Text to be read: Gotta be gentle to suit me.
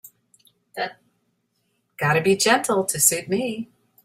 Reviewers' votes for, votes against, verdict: 3, 0, accepted